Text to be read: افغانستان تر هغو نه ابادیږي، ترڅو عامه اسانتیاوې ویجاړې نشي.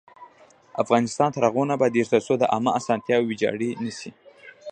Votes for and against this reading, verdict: 0, 2, rejected